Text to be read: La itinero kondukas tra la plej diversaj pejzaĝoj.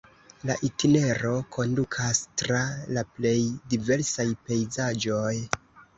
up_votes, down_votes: 0, 2